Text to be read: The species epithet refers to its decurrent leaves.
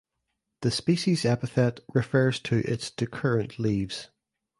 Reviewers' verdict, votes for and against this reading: accepted, 2, 0